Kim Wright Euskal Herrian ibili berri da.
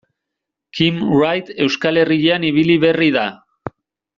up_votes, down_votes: 2, 0